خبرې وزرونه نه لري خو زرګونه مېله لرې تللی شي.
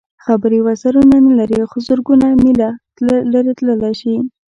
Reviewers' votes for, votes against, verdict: 2, 0, accepted